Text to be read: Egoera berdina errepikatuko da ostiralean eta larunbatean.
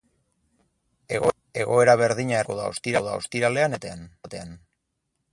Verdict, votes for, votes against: rejected, 0, 6